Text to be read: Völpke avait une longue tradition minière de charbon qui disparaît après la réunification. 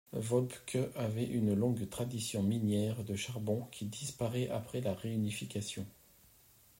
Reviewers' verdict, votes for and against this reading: accepted, 2, 0